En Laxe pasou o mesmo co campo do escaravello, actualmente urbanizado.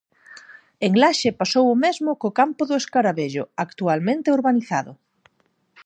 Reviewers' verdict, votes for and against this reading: accepted, 4, 0